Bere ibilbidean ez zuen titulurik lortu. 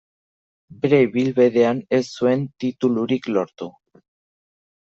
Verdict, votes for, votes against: rejected, 1, 2